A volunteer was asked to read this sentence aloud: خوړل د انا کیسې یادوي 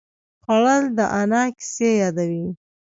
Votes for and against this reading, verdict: 1, 2, rejected